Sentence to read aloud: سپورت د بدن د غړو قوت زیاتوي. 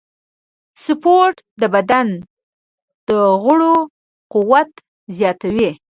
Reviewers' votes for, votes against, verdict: 2, 0, accepted